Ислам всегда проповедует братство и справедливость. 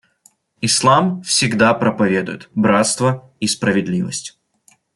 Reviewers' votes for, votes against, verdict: 2, 0, accepted